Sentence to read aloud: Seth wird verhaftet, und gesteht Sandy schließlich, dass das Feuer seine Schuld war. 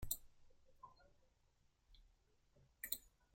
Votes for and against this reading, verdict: 0, 2, rejected